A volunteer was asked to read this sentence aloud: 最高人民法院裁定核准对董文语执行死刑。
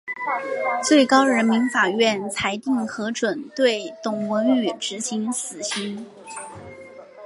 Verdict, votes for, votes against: accepted, 3, 0